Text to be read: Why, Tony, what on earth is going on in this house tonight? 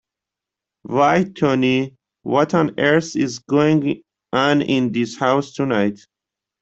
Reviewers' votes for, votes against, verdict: 0, 2, rejected